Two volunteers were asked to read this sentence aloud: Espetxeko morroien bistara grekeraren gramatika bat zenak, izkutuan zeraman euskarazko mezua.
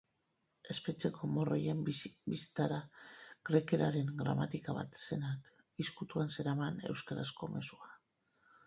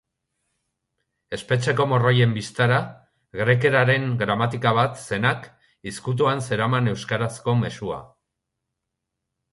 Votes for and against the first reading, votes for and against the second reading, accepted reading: 0, 2, 3, 0, second